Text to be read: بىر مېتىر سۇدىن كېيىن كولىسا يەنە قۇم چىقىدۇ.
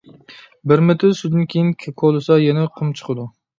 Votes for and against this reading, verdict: 0, 2, rejected